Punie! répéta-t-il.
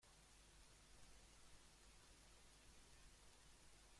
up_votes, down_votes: 0, 2